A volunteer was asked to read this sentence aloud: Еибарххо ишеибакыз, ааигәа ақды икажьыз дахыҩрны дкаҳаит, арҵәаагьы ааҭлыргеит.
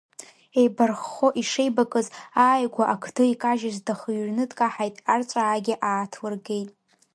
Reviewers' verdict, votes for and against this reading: accepted, 3, 0